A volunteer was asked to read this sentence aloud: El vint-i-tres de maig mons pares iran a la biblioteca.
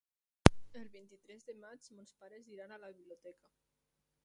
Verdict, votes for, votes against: rejected, 1, 2